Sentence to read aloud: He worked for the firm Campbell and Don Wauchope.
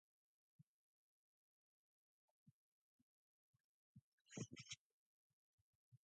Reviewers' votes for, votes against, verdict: 0, 2, rejected